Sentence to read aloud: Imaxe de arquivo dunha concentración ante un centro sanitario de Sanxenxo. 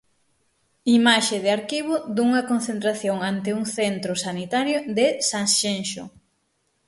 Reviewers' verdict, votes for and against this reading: accepted, 6, 0